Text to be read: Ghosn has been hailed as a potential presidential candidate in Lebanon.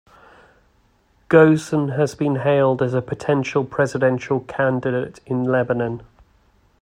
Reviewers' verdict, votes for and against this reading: rejected, 1, 2